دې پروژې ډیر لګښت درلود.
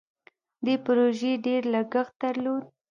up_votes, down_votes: 2, 0